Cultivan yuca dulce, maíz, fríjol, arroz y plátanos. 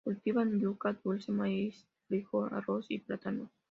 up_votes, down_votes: 2, 1